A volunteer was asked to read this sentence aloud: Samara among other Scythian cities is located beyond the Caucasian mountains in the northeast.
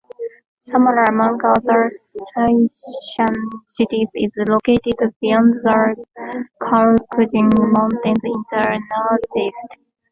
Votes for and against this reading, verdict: 2, 1, accepted